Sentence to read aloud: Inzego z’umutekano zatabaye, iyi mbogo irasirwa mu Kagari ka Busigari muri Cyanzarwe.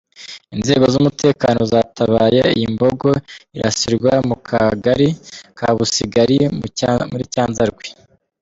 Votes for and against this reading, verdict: 1, 2, rejected